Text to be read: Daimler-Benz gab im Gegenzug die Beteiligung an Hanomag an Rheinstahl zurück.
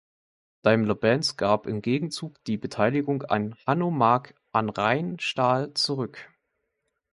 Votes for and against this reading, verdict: 2, 0, accepted